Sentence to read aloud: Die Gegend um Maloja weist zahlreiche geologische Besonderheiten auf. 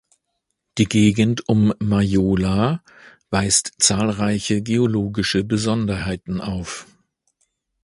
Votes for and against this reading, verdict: 0, 2, rejected